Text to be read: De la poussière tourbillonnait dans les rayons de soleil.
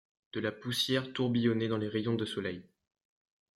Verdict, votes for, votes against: accepted, 2, 1